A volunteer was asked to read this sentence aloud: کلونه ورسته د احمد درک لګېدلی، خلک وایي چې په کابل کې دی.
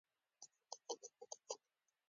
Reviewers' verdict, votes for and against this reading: accepted, 2, 1